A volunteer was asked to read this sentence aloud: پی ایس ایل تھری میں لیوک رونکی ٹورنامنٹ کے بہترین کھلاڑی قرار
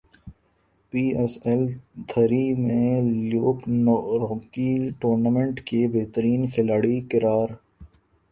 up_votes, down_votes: 0, 3